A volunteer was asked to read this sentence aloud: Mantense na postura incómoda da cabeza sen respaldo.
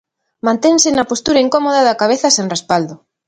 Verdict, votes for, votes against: accepted, 2, 0